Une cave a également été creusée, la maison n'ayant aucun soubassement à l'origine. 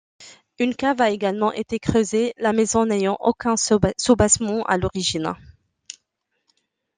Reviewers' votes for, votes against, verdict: 0, 2, rejected